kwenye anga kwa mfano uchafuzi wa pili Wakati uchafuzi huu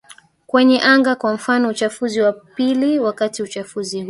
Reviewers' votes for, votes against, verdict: 1, 2, rejected